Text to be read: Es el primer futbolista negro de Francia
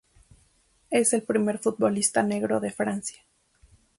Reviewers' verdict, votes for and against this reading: accepted, 2, 0